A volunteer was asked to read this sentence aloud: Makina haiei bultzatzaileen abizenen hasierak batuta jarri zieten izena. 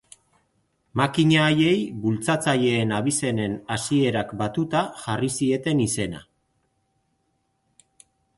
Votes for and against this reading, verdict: 2, 0, accepted